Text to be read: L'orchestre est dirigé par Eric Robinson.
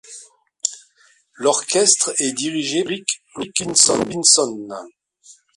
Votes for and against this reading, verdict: 0, 2, rejected